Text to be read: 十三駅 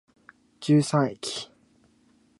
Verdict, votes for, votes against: accepted, 3, 0